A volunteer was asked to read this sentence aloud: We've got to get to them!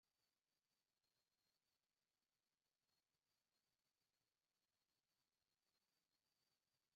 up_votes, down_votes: 0, 2